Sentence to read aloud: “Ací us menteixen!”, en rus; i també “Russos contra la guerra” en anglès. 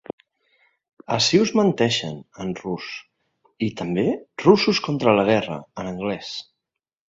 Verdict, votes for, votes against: accepted, 2, 0